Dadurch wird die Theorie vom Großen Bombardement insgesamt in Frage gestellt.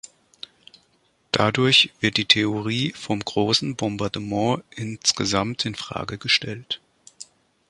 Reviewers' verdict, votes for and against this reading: accepted, 2, 0